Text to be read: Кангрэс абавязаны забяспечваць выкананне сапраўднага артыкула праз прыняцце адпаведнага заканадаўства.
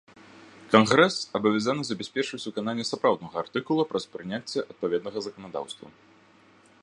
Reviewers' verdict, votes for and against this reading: rejected, 0, 2